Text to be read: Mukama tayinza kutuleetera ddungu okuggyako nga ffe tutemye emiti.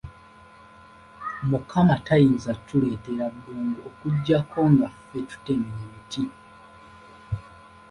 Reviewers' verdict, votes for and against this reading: rejected, 1, 2